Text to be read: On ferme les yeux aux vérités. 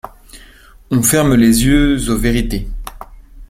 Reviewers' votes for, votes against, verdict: 2, 1, accepted